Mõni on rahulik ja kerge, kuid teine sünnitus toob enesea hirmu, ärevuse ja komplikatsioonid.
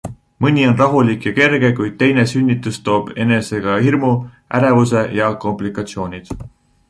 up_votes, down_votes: 1, 2